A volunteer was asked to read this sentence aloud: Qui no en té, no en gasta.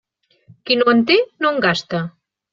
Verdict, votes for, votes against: accepted, 3, 0